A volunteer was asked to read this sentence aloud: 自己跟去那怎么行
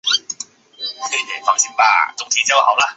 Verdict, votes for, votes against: rejected, 0, 2